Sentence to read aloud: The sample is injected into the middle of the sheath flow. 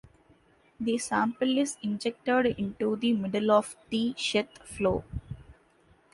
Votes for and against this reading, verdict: 2, 1, accepted